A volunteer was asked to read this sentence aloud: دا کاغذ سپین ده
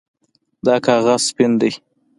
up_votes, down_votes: 2, 0